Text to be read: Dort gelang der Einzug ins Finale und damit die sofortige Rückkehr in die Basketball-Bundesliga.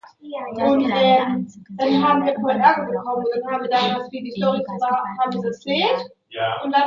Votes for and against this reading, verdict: 0, 2, rejected